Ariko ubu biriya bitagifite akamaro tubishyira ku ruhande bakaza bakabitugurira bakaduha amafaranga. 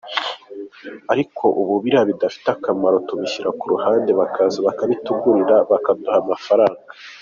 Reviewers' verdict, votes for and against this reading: accepted, 2, 0